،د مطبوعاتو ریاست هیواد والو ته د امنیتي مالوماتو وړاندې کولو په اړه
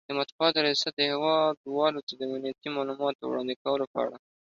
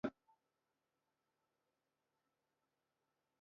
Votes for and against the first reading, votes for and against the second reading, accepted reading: 2, 1, 0, 2, first